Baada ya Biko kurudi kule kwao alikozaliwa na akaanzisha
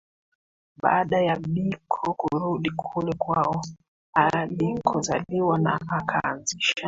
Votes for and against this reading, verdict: 2, 1, accepted